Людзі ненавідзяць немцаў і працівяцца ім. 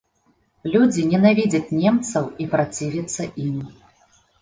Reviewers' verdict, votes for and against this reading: accepted, 2, 0